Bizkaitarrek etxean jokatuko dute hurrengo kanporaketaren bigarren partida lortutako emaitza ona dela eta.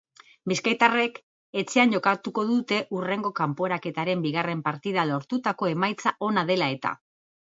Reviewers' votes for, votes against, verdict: 2, 0, accepted